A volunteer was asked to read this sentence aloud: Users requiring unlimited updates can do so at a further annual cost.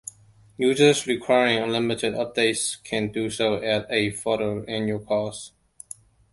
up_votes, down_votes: 2, 0